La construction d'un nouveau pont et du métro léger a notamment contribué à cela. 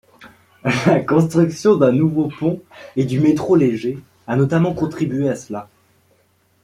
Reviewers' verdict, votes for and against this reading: accepted, 2, 1